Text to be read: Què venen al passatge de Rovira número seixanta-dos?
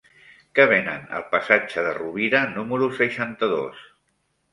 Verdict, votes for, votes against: accepted, 3, 0